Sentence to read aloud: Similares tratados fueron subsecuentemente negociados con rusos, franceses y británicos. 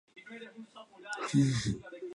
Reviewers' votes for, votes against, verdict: 0, 2, rejected